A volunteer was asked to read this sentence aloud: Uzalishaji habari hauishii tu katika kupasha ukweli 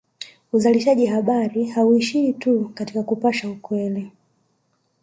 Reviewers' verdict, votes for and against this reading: rejected, 1, 2